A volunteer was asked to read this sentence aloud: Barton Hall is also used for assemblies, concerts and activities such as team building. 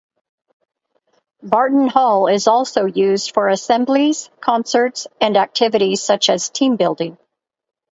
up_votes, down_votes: 2, 0